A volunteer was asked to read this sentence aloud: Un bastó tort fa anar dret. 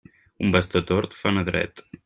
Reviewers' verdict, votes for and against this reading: accepted, 2, 0